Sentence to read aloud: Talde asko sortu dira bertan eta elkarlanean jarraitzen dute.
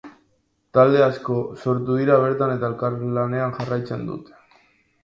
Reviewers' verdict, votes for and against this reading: accepted, 2, 1